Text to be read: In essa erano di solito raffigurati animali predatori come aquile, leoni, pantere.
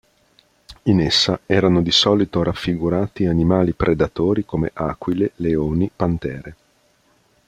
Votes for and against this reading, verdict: 2, 0, accepted